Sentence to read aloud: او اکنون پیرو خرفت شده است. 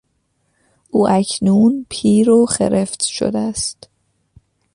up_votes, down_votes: 2, 0